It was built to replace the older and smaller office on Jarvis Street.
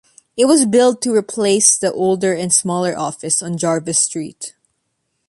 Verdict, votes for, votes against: accepted, 2, 0